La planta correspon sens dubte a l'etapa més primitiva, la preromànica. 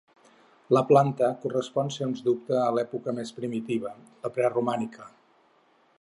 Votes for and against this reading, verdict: 2, 4, rejected